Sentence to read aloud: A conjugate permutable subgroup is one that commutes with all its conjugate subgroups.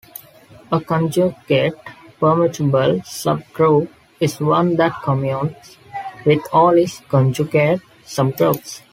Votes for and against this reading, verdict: 2, 0, accepted